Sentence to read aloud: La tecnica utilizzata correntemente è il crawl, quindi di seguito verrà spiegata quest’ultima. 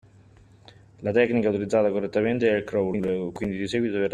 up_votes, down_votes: 0, 2